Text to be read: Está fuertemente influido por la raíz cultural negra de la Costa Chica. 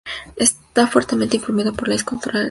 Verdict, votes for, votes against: rejected, 0, 2